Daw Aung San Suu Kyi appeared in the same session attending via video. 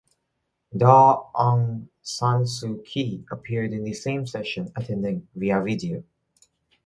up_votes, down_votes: 2, 0